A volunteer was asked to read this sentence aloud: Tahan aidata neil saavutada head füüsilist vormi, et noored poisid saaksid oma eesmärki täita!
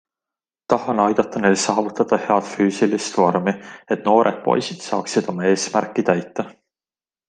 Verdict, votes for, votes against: accepted, 2, 0